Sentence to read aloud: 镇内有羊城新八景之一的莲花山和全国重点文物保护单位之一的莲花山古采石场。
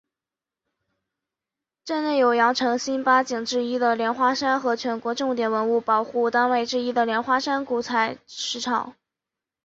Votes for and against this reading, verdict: 2, 0, accepted